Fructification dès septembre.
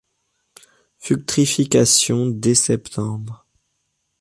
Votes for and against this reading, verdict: 1, 2, rejected